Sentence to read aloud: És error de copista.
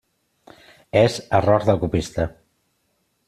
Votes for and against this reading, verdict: 2, 1, accepted